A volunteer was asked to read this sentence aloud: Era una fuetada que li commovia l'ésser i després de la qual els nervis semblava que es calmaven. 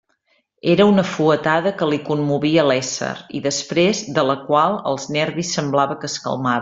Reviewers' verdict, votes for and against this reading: rejected, 1, 2